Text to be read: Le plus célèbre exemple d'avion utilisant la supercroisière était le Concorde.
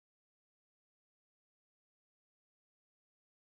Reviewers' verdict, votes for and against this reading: rejected, 0, 2